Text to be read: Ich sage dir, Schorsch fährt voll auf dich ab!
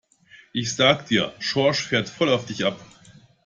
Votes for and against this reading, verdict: 2, 0, accepted